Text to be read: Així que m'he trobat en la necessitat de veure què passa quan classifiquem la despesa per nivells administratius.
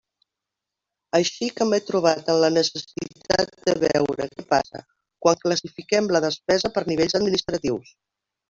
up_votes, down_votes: 0, 2